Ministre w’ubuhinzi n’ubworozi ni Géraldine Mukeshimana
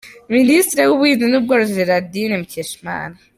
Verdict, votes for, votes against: rejected, 1, 2